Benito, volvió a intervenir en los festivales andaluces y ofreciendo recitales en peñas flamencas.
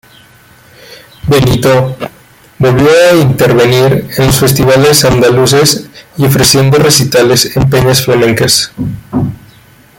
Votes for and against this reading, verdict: 2, 1, accepted